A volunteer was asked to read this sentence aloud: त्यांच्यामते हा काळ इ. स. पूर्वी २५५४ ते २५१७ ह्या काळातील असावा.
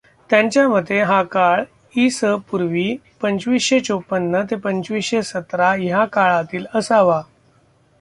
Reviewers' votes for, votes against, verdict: 0, 2, rejected